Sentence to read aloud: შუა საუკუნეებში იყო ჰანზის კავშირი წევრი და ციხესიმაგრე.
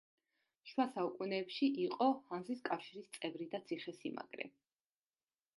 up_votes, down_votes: 0, 2